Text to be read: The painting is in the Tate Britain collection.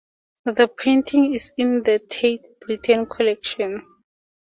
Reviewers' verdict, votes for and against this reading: accepted, 2, 0